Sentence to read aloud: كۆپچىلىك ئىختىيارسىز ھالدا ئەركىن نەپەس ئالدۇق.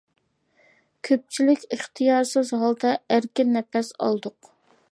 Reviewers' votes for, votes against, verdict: 2, 0, accepted